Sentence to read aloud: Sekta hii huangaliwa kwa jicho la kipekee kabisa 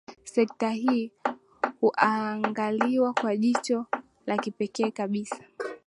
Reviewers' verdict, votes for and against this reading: accepted, 2, 0